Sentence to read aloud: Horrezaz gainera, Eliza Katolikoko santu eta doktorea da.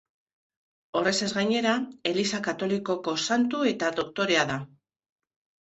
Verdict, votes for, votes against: accepted, 2, 0